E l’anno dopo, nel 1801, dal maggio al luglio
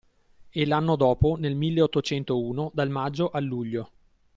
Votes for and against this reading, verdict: 0, 2, rejected